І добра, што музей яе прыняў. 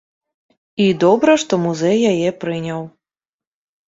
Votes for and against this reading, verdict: 0, 2, rejected